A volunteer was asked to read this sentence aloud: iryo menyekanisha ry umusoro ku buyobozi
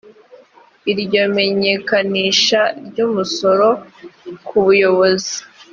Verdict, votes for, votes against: accepted, 2, 0